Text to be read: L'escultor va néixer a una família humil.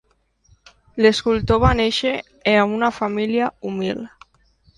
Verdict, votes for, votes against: accepted, 2, 0